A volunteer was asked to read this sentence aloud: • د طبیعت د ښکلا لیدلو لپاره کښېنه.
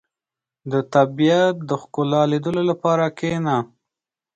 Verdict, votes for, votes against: accepted, 4, 0